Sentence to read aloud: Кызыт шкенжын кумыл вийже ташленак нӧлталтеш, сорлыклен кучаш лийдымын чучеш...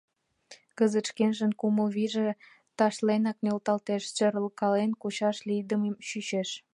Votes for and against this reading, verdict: 1, 2, rejected